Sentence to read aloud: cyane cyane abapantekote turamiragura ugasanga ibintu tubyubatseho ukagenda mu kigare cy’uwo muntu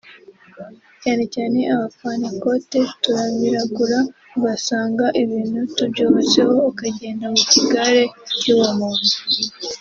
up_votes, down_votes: 2, 0